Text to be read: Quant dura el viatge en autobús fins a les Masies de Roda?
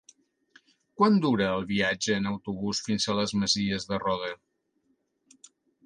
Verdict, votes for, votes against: accepted, 3, 0